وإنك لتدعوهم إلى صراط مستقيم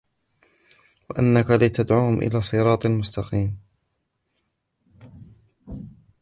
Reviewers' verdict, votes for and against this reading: rejected, 0, 2